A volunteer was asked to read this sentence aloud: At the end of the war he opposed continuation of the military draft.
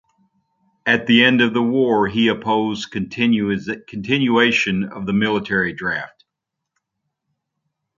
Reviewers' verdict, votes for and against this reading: rejected, 0, 2